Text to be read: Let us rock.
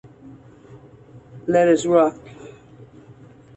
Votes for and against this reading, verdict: 2, 0, accepted